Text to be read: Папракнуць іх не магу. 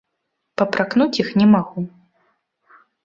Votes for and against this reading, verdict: 2, 0, accepted